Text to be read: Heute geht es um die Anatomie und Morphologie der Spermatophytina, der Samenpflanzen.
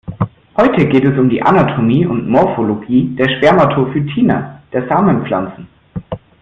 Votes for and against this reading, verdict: 2, 0, accepted